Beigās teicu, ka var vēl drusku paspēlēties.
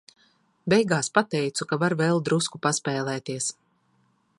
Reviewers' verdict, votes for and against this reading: rejected, 0, 2